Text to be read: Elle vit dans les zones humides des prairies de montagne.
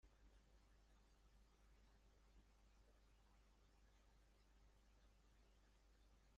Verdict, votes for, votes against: rejected, 1, 2